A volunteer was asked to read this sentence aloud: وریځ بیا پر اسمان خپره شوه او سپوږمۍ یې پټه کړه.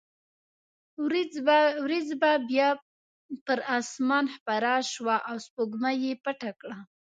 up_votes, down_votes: 1, 2